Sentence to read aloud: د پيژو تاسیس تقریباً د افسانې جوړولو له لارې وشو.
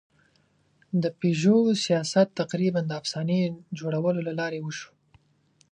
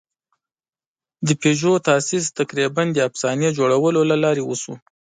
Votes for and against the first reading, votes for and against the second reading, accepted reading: 1, 2, 2, 0, second